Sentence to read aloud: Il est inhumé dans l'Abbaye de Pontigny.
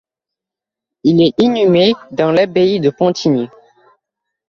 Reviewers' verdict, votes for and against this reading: accepted, 2, 0